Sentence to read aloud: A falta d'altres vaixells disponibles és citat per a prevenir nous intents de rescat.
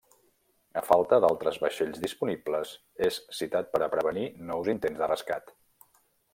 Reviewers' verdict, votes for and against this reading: accepted, 3, 0